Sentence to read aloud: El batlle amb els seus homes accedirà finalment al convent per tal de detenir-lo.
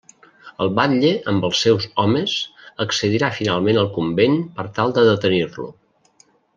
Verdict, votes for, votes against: accepted, 3, 0